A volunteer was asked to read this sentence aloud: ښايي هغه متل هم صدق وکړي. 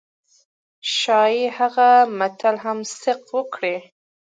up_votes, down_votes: 2, 0